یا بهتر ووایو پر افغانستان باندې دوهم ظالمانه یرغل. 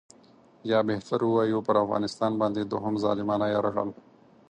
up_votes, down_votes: 4, 2